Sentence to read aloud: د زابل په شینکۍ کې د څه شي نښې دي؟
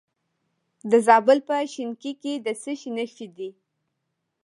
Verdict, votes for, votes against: accepted, 2, 0